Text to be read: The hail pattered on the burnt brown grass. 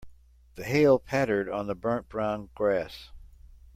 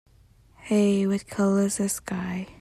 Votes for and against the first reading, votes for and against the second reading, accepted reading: 2, 0, 0, 2, first